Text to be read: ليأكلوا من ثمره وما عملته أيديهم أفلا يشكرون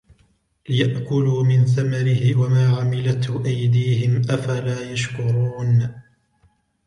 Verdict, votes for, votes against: accepted, 2, 0